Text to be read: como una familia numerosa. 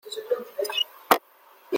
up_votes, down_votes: 0, 2